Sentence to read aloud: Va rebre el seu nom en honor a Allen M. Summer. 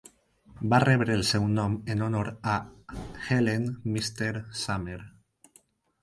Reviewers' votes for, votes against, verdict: 0, 4, rejected